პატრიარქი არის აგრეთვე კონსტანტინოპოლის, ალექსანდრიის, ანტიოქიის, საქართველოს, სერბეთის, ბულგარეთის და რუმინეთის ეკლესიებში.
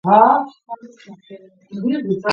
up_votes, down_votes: 0, 2